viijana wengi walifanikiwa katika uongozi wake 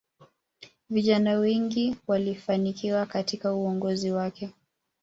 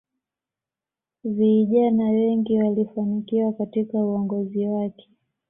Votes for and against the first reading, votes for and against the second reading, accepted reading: 0, 2, 2, 0, second